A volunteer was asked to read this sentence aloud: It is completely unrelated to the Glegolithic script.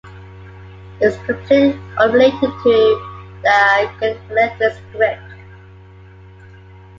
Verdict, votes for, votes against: rejected, 1, 2